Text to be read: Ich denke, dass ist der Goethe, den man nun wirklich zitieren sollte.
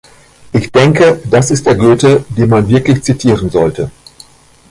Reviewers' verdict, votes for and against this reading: rejected, 0, 2